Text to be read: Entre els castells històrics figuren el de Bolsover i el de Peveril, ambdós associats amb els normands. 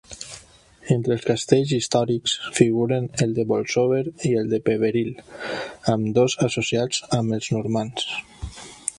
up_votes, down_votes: 3, 0